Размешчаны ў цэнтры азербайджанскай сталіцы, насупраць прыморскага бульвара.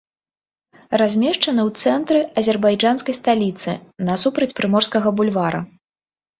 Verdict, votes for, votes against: accepted, 2, 0